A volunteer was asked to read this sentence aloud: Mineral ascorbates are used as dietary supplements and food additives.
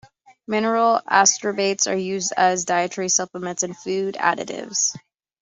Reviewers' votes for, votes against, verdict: 2, 0, accepted